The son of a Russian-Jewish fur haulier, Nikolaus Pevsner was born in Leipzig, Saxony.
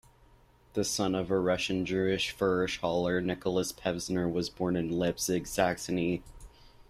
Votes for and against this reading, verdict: 0, 2, rejected